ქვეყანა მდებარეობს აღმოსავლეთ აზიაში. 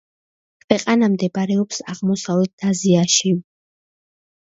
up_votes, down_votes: 2, 0